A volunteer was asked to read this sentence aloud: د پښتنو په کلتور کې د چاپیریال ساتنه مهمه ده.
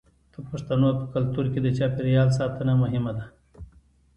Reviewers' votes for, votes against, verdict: 2, 0, accepted